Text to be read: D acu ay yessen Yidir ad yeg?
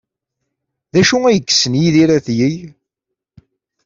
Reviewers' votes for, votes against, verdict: 2, 0, accepted